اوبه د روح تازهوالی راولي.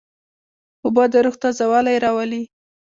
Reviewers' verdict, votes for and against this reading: accepted, 2, 1